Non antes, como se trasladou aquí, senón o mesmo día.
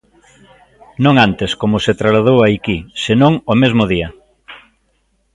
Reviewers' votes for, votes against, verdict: 1, 2, rejected